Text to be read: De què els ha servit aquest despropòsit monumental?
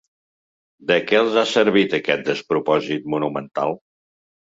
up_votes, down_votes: 3, 0